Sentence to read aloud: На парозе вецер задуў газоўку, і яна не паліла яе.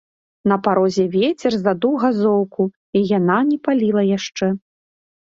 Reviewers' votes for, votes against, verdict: 0, 3, rejected